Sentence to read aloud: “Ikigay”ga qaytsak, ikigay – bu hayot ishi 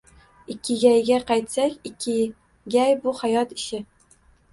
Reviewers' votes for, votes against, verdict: 1, 2, rejected